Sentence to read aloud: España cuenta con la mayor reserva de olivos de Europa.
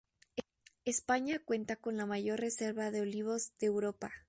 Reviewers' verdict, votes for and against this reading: accepted, 2, 0